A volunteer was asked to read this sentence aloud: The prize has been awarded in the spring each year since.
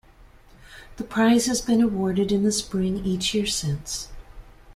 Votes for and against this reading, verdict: 2, 0, accepted